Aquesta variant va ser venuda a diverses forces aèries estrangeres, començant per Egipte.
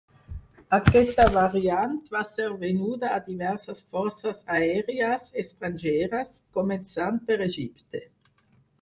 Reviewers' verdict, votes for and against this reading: rejected, 2, 4